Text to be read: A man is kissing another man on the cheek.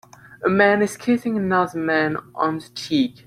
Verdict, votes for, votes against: accepted, 2, 0